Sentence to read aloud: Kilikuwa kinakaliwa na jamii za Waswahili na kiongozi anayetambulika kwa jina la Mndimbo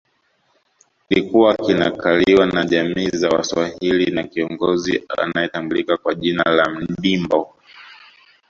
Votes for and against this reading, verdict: 2, 0, accepted